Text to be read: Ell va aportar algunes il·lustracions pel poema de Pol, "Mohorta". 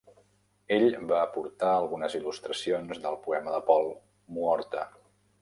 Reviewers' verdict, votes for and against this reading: rejected, 0, 2